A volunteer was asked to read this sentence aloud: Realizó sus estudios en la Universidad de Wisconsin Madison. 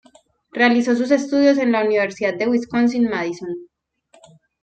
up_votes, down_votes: 1, 2